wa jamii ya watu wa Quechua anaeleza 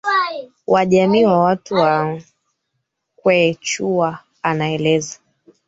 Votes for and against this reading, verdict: 0, 3, rejected